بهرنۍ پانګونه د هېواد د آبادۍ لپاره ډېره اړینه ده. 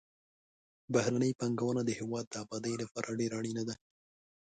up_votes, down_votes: 2, 1